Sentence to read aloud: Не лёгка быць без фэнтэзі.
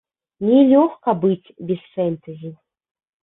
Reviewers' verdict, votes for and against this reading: accepted, 2, 1